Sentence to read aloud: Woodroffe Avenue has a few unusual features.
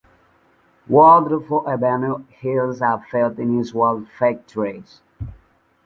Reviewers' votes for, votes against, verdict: 1, 2, rejected